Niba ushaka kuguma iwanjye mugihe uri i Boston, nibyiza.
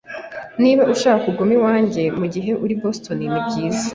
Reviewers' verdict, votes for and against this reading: accepted, 2, 0